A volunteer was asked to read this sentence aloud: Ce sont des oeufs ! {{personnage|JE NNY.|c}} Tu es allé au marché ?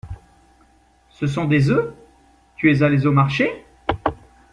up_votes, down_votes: 1, 2